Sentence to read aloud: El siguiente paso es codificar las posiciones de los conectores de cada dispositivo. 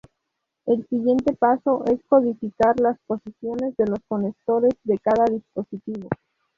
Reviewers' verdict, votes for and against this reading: accepted, 2, 0